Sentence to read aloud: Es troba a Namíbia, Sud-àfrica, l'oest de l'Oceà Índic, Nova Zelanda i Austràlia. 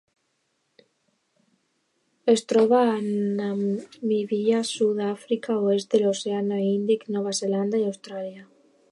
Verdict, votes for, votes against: rejected, 1, 2